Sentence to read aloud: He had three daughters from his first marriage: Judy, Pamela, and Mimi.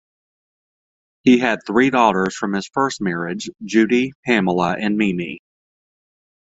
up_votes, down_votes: 2, 0